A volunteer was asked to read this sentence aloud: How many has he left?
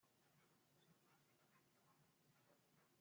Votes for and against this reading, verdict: 0, 2, rejected